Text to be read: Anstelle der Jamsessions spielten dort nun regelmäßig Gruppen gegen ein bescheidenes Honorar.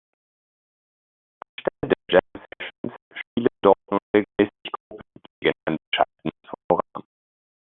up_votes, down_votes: 0, 2